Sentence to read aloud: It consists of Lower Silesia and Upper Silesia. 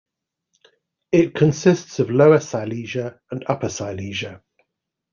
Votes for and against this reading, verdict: 2, 0, accepted